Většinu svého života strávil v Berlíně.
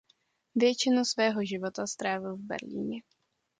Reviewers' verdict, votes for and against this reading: accepted, 2, 0